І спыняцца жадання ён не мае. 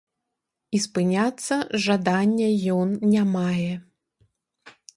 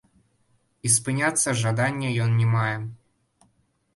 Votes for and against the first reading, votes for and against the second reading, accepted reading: 2, 0, 0, 2, first